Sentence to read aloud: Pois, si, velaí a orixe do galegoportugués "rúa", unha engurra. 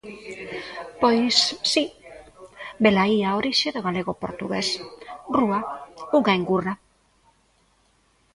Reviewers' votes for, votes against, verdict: 0, 2, rejected